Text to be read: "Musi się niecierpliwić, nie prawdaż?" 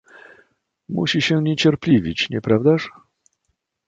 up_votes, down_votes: 2, 0